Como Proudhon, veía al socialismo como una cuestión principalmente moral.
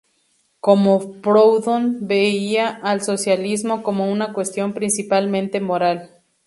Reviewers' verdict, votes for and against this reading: accepted, 4, 0